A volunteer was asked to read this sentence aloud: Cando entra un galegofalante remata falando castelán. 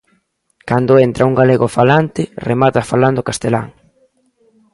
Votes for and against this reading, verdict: 2, 0, accepted